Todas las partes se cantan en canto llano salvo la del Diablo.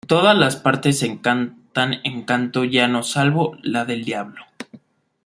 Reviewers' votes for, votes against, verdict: 1, 2, rejected